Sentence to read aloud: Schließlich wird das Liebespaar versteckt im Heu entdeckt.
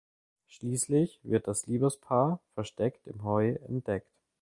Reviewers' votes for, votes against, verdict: 2, 0, accepted